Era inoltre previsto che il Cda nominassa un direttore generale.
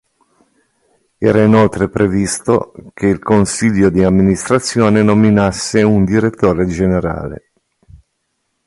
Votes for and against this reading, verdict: 1, 2, rejected